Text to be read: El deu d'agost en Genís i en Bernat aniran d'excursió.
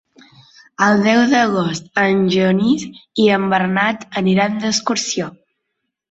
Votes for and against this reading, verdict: 4, 0, accepted